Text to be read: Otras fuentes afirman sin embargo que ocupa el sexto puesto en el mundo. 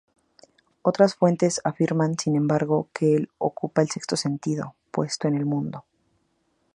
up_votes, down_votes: 2, 0